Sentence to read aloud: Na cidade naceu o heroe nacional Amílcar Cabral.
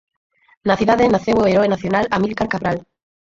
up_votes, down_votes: 0, 4